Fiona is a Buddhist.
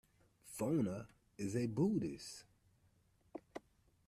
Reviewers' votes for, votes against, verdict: 0, 2, rejected